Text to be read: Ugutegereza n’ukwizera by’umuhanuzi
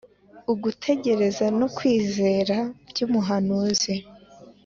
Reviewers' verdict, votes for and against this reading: accepted, 4, 0